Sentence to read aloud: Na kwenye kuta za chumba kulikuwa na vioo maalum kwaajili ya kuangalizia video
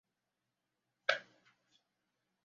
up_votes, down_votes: 0, 2